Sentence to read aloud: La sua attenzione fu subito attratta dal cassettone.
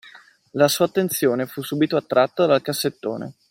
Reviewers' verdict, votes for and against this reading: accepted, 2, 1